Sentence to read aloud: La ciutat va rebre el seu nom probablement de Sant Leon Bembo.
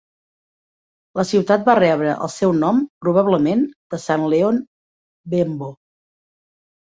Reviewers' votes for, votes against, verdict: 2, 0, accepted